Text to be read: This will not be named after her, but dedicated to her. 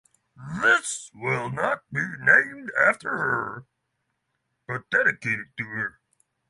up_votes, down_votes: 3, 0